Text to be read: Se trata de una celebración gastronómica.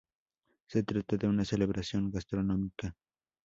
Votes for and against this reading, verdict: 0, 2, rejected